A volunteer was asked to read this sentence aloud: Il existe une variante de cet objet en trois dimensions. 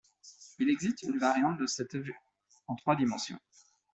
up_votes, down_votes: 1, 2